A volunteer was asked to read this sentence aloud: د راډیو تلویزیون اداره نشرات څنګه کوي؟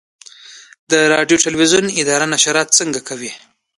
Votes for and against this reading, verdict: 2, 0, accepted